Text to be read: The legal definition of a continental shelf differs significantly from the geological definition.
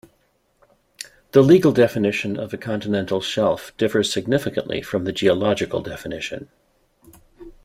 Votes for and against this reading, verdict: 2, 0, accepted